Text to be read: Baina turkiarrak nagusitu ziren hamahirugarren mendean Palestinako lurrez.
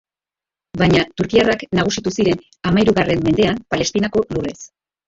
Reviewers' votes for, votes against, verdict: 1, 2, rejected